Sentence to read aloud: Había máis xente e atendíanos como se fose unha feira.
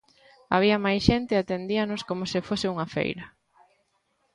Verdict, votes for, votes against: accepted, 2, 0